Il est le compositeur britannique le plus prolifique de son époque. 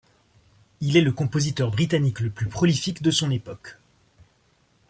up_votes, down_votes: 2, 0